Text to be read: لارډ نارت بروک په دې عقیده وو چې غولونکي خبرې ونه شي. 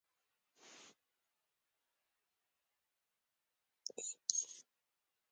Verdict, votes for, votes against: rejected, 1, 2